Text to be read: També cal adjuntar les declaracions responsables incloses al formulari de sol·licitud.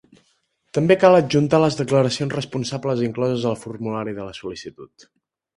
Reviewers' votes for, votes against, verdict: 1, 2, rejected